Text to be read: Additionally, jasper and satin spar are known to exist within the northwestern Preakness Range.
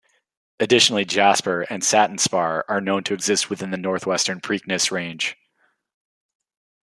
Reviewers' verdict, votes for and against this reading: accepted, 2, 1